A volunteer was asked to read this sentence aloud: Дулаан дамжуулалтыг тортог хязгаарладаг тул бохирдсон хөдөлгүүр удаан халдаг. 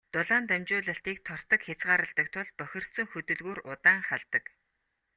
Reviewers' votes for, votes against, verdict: 2, 0, accepted